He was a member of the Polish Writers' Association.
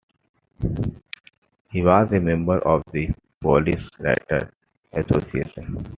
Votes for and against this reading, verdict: 2, 0, accepted